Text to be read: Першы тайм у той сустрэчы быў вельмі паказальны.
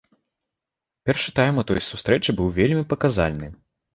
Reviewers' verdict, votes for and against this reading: accepted, 2, 0